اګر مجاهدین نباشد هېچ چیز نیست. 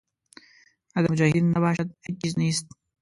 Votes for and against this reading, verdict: 1, 2, rejected